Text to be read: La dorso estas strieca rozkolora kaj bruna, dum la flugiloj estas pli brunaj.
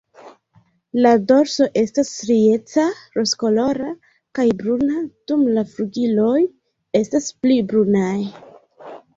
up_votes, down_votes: 2, 0